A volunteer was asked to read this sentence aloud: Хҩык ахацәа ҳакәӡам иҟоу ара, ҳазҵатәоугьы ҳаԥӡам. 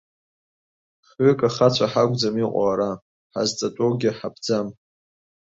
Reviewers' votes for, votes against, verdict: 2, 0, accepted